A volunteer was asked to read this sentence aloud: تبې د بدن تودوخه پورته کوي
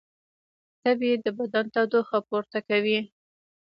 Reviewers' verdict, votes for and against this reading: rejected, 1, 2